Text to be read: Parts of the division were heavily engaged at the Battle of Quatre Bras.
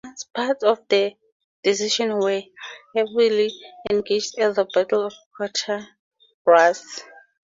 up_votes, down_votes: 2, 0